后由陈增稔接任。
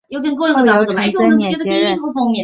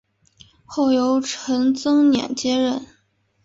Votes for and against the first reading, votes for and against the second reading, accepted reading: 2, 3, 3, 0, second